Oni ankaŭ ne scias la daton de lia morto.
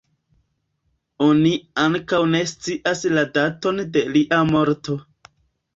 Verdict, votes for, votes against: accepted, 2, 1